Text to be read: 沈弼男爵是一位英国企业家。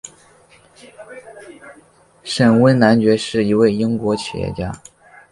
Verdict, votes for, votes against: accepted, 3, 1